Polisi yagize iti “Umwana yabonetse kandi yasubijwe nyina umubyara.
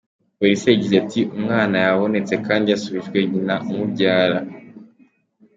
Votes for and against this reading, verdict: 2, 0, accepted